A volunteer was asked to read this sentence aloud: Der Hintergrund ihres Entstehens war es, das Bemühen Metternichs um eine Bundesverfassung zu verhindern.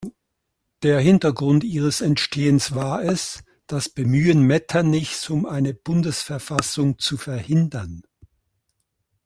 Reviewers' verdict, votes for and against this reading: accepted, 2, 0